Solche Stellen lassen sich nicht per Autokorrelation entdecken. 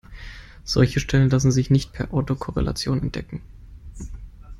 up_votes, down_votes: 2, 0